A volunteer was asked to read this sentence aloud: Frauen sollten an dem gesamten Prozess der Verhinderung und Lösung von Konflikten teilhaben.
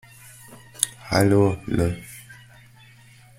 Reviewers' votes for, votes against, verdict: 0, 2, rejected